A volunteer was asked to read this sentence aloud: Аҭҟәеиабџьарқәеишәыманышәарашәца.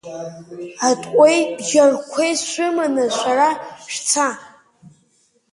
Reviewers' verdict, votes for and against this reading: rejected, 1, 2